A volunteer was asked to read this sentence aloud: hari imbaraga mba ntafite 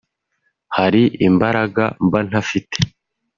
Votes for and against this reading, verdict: 2, 0, accepted